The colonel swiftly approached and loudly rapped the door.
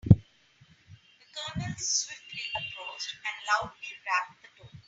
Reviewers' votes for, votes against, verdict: 0, 2, rejected